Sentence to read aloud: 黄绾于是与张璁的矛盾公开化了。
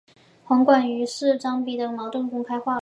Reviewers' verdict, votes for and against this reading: accepted, 2, 0